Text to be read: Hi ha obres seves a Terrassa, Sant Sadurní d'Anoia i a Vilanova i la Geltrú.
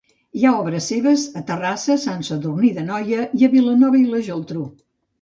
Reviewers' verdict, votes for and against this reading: accepted, 2, 0